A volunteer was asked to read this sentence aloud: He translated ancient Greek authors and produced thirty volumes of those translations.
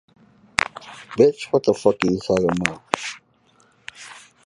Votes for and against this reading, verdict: 0, 2, rejected